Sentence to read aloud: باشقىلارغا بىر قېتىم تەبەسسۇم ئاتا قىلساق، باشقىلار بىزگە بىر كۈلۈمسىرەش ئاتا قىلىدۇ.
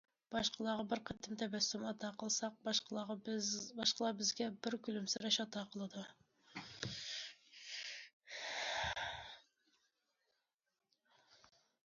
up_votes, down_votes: 0, 2